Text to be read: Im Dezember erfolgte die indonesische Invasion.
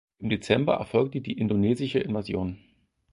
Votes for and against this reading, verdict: 4, 0, accepted